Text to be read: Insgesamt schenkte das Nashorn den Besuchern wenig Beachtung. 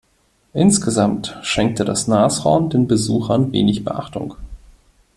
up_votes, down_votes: 2, 0